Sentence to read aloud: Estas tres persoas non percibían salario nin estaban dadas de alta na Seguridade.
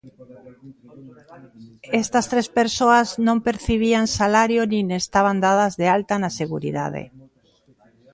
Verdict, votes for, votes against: accepted, 2, 0